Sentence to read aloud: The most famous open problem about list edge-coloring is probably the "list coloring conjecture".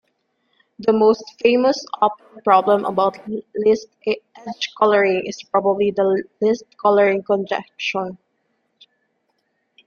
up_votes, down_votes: 0, 2